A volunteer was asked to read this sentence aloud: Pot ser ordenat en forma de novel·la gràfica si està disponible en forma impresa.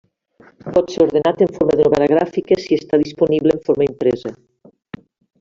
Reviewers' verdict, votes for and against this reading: rejected, 0, 2